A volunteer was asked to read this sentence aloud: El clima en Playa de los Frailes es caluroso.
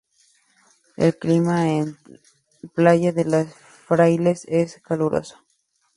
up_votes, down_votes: 2, 2